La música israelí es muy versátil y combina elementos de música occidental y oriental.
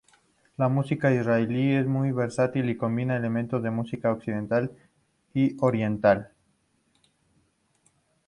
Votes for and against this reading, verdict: 6, 0, accepted